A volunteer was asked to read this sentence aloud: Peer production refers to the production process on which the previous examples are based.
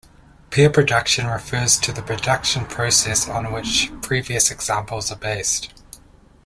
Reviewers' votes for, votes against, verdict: 1, 2, rejected